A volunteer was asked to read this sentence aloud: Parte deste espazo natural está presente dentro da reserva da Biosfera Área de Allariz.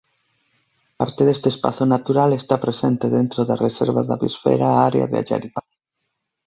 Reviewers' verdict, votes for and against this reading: rejected, 0, 2